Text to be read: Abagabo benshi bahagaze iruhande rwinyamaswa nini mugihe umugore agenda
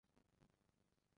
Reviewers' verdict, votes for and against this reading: rejected, 0, 2